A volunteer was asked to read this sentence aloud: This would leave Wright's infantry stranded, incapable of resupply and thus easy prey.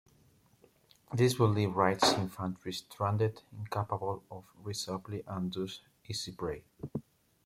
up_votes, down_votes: 2, 0